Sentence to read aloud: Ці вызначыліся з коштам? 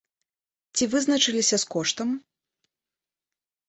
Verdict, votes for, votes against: accepted, 2, 0